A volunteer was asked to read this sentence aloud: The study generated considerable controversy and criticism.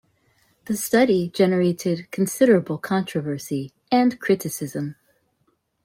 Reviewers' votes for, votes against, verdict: 2, 0, accepted